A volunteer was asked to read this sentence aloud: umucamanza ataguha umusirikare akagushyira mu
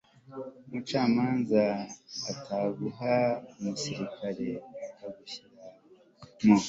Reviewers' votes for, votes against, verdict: 2, 1, accepted